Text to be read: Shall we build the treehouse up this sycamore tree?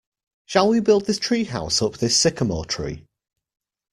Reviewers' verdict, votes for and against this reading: rejected, 1, 2